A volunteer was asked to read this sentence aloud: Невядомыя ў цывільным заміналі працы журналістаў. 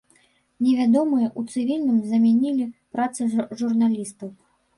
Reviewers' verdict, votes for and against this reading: rejected, 1, 2